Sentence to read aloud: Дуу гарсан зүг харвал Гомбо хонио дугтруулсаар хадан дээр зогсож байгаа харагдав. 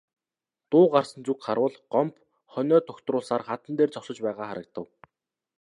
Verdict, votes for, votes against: accepted, 2, 0